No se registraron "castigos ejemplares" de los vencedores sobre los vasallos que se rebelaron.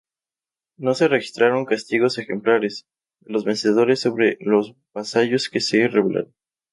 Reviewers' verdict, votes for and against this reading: rejected, 0, 2